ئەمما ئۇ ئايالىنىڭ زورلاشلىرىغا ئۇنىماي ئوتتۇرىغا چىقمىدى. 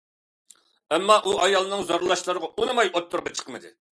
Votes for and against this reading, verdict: 2, 0, accepted